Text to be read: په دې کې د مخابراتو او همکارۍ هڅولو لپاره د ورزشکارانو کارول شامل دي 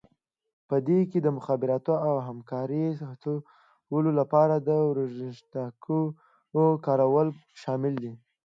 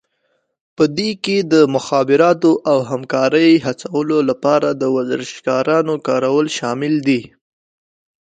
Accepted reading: second